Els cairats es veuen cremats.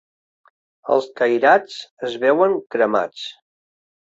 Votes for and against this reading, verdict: 3, 0, accepted